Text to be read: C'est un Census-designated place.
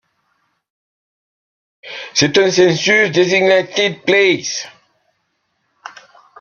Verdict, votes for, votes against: accepted, 2, 1